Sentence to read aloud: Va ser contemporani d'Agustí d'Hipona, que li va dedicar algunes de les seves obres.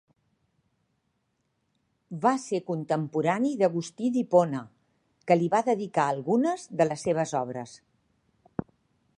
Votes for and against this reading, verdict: 2, 0, accepted